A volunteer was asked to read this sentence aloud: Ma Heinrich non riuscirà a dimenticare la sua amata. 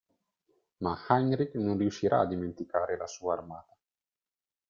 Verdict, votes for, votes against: rejected, 0, 2